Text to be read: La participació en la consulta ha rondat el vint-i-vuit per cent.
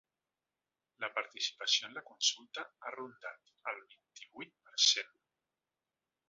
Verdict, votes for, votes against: rejected, 3, 4